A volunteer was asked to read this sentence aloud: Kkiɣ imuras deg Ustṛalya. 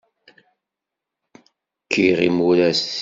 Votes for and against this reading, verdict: 0, 2, rejected